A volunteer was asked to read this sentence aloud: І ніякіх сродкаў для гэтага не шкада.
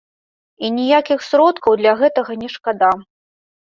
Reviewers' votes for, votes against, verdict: 2, 0, accepted